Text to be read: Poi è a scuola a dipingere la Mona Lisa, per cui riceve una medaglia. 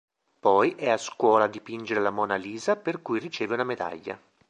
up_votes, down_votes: 2, 0